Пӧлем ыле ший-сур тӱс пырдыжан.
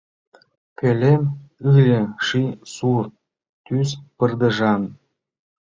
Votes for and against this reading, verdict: 2, 0, accepted